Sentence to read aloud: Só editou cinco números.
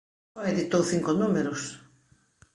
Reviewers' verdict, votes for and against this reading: rejected, 1, 2